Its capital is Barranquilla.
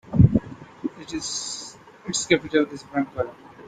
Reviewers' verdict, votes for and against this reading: rejected, 0, 2